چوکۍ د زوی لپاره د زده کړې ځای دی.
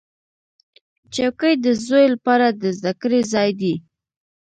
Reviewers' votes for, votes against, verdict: 0, 2, rejected